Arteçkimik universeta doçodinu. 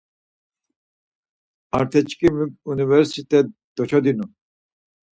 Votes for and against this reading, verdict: 2, 4, rejected